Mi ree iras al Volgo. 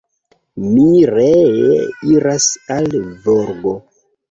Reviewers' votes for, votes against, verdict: 1, 2, rejected